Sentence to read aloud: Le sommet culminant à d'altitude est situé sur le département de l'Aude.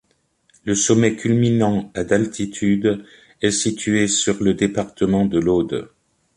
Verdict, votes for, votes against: accepted, 2, 0